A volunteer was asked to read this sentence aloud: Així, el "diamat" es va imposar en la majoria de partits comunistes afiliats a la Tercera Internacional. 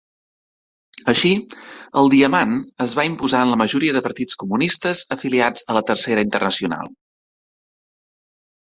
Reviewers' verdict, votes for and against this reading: rejected, 1, 2